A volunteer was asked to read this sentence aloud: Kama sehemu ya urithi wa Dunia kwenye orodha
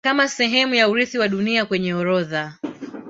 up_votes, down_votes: 2, 3